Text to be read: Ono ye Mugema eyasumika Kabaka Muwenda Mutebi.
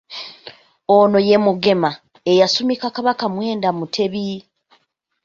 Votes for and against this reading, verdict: 0, 2, rejected